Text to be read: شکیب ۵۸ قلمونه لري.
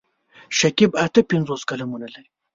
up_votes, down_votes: 0, 2